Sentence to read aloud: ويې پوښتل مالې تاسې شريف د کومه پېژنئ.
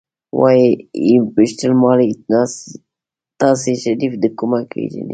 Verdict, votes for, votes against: rejected, 1, 2